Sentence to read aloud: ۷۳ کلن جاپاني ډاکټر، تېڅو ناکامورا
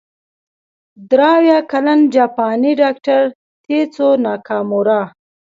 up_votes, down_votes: 0, 2